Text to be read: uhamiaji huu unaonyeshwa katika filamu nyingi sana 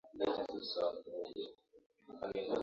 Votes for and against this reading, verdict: 0, 2, rejected